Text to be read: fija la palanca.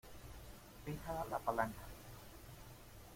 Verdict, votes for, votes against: accepted, 2, 0